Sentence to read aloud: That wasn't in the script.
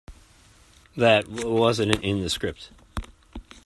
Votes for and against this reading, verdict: 1, 2, rejected